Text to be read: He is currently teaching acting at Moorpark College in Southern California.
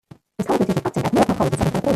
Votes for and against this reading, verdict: 0, 2, rejected